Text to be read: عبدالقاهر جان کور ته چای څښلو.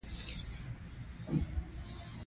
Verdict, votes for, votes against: rejected, 1, 2